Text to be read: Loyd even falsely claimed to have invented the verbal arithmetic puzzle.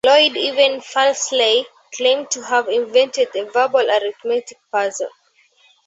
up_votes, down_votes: 2, 1